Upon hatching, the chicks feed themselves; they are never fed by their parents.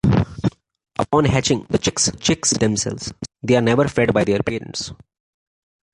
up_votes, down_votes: 0, 2